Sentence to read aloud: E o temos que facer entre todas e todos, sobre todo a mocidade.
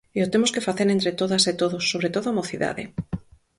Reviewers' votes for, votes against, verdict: 4, 0, accepted